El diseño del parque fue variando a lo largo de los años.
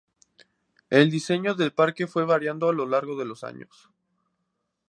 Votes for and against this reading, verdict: 2, 0, accepted